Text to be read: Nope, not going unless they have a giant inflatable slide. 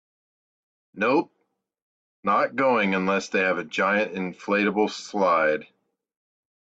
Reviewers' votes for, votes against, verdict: 2, 0, accepted